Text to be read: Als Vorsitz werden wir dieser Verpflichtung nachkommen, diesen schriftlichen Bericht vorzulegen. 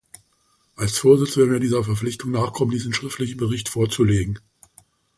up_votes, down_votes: 2, 1